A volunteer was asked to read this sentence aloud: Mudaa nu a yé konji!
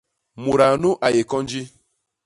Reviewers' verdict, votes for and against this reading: accepted, 2, 0